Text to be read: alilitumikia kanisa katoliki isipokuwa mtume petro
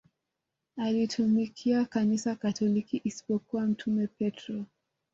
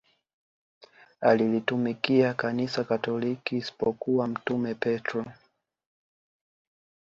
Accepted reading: second